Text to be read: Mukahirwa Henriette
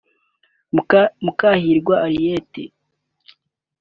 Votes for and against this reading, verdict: 0, 2, rejected